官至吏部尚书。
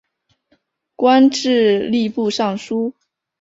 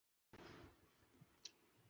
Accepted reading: first